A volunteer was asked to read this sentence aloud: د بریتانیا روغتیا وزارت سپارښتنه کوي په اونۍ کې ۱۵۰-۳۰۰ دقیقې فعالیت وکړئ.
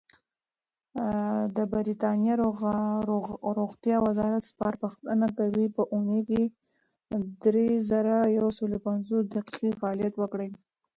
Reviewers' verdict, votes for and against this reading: rejected, 0, 2